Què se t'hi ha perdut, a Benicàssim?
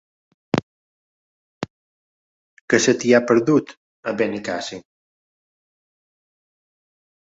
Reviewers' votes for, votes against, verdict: 3, 1, accepted